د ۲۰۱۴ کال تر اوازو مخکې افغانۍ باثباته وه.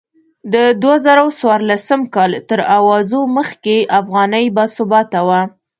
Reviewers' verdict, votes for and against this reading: rejected, 0, 2